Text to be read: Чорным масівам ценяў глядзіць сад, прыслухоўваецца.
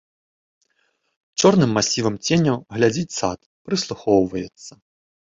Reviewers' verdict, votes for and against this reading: accepted, 2, 0